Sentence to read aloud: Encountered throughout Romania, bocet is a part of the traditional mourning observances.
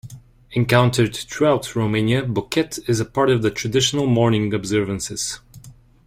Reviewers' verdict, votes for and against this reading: accepted, 2, 1